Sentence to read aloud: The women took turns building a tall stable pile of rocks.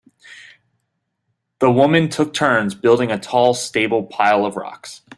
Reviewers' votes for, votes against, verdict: 2, 1, accepted